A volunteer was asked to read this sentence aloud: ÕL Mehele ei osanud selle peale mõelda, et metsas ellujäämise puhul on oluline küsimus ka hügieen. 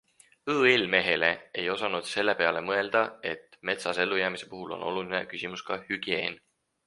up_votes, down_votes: 4, 0